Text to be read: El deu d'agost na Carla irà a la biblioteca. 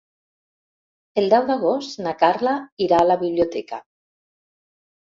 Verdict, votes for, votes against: accepted, 3, 0